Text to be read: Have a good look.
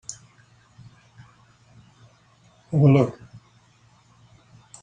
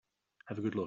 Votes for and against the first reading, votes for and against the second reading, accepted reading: 0, 2, 3, 0, second